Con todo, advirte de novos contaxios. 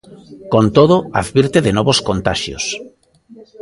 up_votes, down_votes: 2, 0